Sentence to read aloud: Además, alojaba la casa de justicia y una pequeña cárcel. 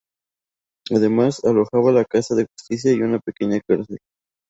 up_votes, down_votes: 2, 0